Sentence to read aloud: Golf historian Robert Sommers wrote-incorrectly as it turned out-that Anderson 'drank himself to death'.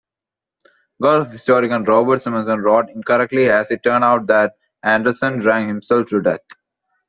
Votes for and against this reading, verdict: 2, 0, accepted